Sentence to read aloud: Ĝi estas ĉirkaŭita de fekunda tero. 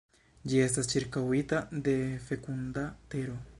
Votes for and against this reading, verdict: 1, 2, rejected